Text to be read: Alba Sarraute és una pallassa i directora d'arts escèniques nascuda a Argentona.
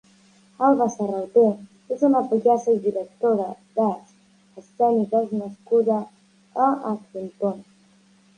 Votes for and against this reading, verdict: 2, 1, accepted